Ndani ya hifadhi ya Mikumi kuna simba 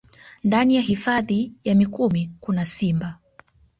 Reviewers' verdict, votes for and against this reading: accepted, 2, 0